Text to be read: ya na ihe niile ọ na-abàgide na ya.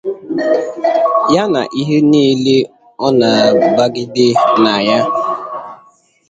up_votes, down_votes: 0, 2